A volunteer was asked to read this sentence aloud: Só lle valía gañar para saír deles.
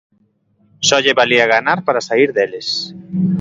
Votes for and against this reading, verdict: 0, 3, rejected